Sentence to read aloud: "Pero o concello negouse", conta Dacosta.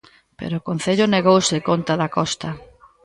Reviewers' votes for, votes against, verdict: 1, 2, rejected